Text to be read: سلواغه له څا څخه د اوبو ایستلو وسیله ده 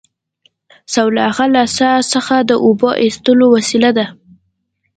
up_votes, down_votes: 2, 0